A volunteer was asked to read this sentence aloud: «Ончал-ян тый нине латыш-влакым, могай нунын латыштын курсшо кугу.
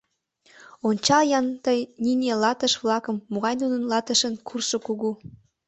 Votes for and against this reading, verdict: 1, 2, rejected